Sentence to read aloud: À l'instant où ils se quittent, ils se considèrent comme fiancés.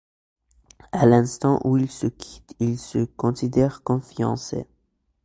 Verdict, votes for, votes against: accepted, 2, 0